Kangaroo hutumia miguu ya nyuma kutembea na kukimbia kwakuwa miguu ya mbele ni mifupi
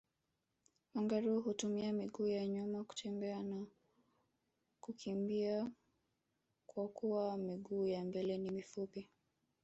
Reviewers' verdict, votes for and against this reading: accepted, 3, 2